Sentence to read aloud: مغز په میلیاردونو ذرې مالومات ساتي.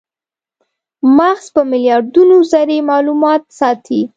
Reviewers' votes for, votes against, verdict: 2, 0, accepted